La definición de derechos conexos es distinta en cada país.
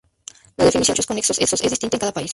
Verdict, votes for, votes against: rejected, 0, 2